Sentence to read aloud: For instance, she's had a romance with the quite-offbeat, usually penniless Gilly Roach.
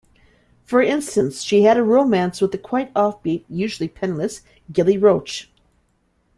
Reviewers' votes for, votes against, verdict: 1, 2, rejected